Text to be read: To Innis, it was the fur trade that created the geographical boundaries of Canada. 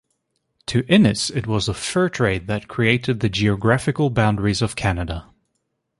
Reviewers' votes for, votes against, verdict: 2, 0, accepted